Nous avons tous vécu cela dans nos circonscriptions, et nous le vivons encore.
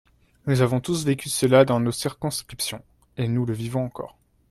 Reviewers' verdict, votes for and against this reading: accepted, 2, 0